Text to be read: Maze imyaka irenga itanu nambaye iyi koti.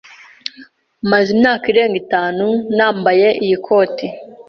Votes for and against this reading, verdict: 2, 0, accepted